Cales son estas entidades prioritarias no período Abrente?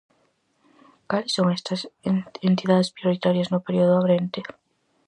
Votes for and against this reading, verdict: 0, 4, rejected